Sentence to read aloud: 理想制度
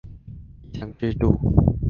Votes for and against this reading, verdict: 0, 2, rejected